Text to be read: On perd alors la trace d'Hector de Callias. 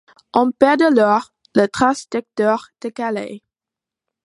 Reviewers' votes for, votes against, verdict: 0, 2, rejected